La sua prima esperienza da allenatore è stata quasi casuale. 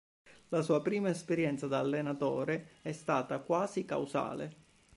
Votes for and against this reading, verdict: 0, 2, rejected